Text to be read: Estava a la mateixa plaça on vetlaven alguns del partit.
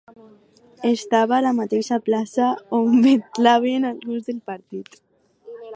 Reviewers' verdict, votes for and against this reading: accepted, 2, 0